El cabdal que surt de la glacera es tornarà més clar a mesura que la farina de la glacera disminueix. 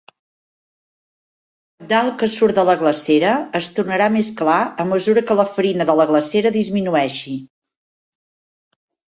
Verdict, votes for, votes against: rejected, 1, 3